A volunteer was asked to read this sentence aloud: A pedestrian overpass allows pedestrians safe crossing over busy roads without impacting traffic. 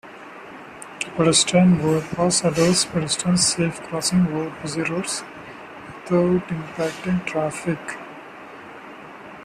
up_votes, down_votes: 1, 2